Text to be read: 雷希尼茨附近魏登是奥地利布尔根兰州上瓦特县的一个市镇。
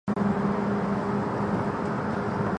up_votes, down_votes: 6, 3